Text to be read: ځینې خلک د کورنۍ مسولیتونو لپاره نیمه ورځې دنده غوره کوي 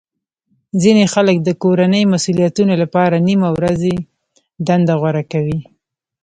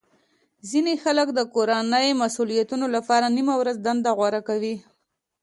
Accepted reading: second